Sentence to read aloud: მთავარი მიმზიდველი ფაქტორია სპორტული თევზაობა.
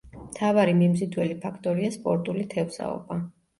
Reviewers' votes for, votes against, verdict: 2, 0, accepted